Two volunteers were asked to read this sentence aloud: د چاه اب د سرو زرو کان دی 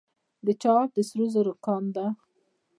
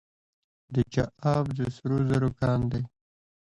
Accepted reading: second